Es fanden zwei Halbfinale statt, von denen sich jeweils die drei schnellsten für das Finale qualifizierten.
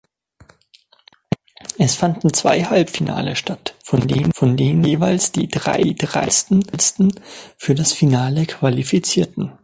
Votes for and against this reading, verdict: 0, 3, rejected